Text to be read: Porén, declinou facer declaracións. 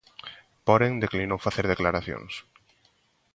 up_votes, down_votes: 2, 1